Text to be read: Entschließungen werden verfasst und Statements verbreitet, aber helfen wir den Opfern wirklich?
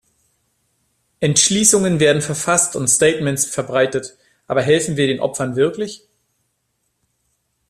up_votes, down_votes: 2, 0